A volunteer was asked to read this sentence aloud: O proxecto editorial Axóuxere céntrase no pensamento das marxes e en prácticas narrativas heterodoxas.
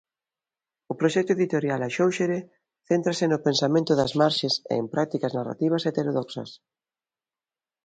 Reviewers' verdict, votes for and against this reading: accepted, 3, 0